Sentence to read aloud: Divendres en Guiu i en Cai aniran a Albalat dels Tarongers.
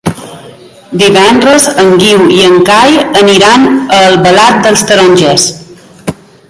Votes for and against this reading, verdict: 3, 0, accepted